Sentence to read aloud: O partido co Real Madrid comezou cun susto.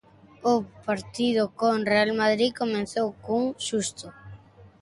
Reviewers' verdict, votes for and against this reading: rejected, 1, 2